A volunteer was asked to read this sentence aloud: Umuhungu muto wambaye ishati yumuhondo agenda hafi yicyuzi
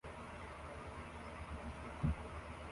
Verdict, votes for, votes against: rejected, 0, 2